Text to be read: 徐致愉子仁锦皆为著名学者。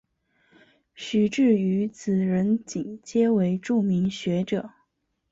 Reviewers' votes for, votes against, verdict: 2, 0, accepted